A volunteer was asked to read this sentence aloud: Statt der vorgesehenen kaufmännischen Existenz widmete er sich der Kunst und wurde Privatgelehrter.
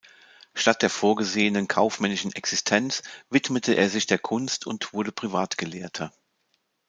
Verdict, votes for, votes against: accepted, 2, 0